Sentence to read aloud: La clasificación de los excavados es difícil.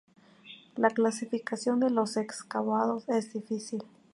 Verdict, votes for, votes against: accepted, 2, 0